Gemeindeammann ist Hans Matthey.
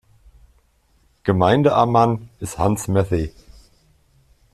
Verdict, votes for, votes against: rejected, 0, 2